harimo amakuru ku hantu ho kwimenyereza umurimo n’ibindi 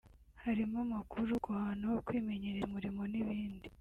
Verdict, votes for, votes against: rejected, 1, 2